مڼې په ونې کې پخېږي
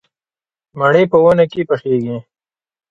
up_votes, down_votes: 3, 0